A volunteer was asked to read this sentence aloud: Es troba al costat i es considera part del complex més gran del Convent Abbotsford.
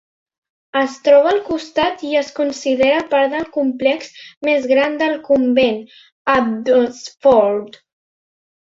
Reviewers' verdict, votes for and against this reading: rejected, 1, 2